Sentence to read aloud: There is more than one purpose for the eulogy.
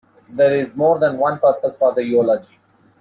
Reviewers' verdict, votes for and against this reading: accepted, 2, 1